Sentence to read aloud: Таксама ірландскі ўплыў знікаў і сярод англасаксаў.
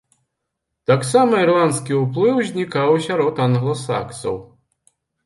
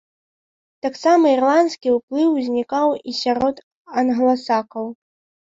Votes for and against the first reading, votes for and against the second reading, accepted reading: 2, 0, 1, 3, first